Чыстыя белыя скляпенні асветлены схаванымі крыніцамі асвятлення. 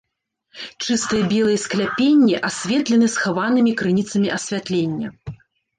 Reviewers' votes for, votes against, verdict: 1, 2, rejected